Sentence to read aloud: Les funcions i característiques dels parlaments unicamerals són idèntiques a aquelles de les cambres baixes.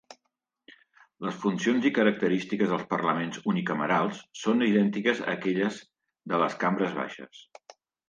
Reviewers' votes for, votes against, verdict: 2, 0, accepted